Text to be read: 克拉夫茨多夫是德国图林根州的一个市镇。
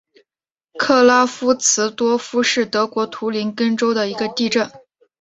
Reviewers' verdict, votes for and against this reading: accepted, 2, 0